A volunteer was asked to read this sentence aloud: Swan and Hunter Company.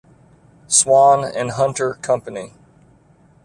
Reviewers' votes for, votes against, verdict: 2, 0, accepted